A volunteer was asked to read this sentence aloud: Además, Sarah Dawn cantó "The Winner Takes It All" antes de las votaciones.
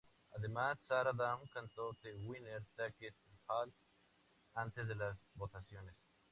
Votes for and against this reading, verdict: 2, 0, accepted